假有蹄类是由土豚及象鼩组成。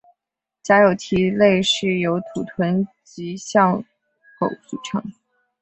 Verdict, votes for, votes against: accepted, 2, 0